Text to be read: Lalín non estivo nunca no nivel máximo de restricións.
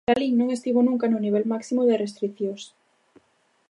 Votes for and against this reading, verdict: 2, 0, accepted